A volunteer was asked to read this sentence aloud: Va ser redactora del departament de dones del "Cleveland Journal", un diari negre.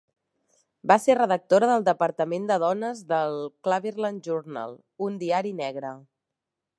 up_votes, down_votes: 1, 2